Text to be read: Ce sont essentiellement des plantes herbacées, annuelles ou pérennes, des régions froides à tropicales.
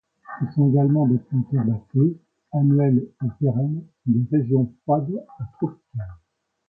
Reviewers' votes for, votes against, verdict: 0, 2, rejected